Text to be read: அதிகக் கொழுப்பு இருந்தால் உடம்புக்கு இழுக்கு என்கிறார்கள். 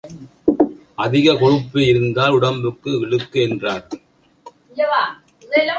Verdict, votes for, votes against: rejected, 1, 2